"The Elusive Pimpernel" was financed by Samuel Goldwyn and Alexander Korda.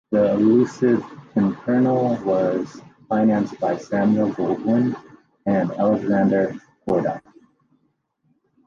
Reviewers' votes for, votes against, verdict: 2, 0, accepted